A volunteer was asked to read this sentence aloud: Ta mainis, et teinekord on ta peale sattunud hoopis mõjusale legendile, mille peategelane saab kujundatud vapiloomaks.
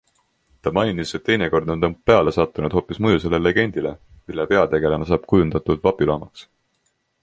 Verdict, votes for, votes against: accepted, 2, 0